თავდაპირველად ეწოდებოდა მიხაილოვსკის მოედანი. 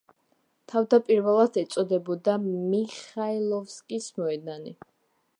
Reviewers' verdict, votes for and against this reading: accepted, 2, 0